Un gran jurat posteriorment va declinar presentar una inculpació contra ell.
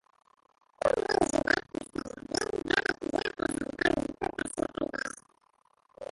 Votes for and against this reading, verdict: 0, 3, rejected